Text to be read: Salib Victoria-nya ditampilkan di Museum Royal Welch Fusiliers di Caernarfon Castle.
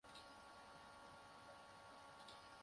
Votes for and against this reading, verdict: 0, 2, rejected